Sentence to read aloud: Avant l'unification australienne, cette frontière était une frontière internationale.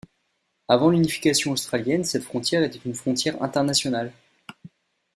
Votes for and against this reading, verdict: 2, 0, accepted